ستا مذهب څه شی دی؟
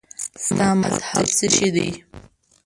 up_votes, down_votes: 2, 3